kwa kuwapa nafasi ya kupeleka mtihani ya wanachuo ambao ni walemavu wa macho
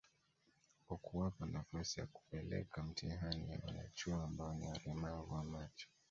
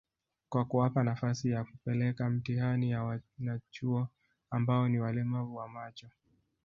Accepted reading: second